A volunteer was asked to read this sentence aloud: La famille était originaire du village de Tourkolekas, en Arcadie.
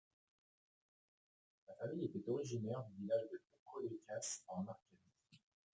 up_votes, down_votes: 0, 2